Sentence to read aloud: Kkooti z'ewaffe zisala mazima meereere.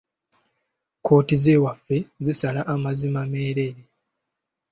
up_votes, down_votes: 2, 1